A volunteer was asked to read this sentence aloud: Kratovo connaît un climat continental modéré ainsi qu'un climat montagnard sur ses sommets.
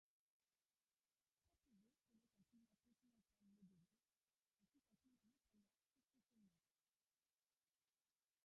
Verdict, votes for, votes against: rejected, 0, 3